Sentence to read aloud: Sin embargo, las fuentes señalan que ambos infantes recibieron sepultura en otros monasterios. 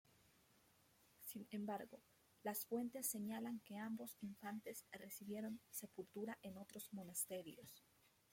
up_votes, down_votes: 0, 2